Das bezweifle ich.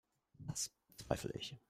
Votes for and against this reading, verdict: 0, 2, rejected